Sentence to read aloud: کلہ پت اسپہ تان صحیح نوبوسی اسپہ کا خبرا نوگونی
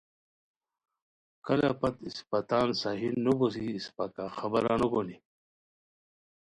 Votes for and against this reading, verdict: 3, 0, accepted